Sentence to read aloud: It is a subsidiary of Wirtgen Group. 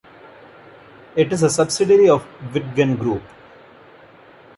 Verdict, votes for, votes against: rejected, 1, 2